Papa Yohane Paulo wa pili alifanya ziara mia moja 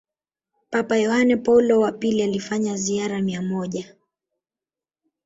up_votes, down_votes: 1, 2